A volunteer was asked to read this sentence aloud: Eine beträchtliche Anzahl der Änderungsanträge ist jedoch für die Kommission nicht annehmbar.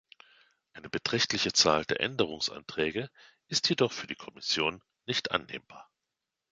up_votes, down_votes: 0, 2